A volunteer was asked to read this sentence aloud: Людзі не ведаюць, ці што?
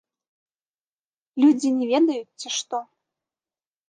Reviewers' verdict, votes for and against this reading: rejected, 1, 3